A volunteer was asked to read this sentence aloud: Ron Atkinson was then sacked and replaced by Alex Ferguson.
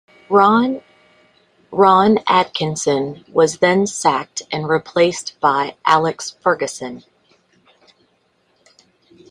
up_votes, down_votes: 1, 2